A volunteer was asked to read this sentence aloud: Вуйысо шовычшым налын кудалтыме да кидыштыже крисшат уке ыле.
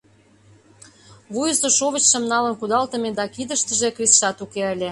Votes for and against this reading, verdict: 2, 0, accepted